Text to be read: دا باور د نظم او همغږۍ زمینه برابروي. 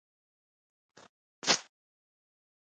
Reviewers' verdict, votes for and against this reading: rejected, 0, 2